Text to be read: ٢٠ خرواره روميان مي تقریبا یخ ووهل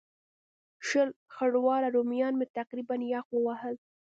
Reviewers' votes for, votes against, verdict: 0, 2, rejected